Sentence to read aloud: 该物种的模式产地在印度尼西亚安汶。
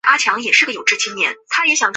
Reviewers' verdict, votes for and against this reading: rejected, 0, 4